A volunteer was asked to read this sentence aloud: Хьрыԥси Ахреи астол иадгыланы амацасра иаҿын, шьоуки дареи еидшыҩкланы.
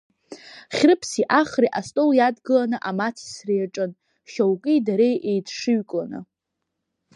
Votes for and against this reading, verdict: 1, 2, rejected